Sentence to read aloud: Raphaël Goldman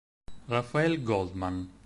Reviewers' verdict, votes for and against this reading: accepted, 6, 0